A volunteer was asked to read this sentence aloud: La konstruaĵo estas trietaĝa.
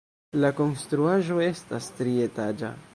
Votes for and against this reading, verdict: 1, 2, rejected